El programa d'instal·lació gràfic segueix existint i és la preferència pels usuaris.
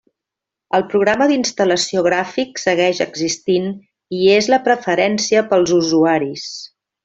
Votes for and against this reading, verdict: 3, 0, accepted